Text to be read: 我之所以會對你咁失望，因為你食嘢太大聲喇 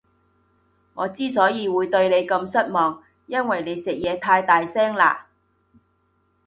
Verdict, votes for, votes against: accepted, 2, 0